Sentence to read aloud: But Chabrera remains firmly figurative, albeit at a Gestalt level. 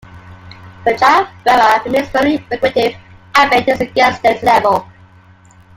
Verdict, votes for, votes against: rejected, 0, 2